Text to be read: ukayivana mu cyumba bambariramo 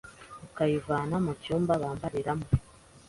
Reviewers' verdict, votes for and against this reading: accepted, 2, 0